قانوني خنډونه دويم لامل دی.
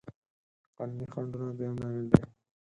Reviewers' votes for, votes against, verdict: 2, 4, rejected